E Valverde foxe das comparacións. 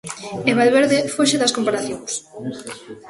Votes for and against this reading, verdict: 1, 2, rejected